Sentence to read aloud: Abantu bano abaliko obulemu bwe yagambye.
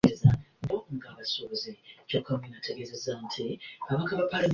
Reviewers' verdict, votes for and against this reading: rejected, 0, 3